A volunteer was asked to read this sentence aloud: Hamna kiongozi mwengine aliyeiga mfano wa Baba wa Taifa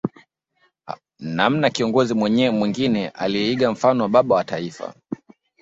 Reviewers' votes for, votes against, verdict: 0, 2, rejected